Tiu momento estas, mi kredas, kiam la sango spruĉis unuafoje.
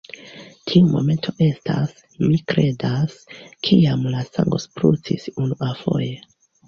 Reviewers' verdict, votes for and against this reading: rejected, 0, 2